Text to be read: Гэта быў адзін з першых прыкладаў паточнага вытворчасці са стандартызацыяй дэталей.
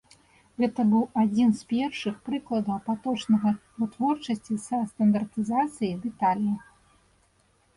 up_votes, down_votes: 2, 1